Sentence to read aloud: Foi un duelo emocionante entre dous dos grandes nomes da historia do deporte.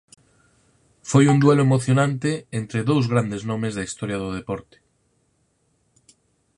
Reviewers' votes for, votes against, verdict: 0, 4, rejected